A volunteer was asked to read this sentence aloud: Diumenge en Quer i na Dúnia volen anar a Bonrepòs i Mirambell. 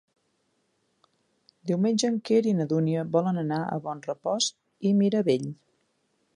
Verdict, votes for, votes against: rejected, 1, 2